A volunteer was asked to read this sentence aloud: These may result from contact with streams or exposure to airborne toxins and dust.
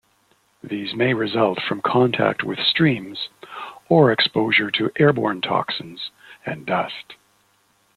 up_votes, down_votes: 2, 0